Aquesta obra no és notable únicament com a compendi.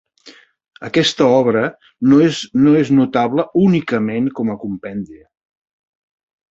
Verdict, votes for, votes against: rejected, 1, 2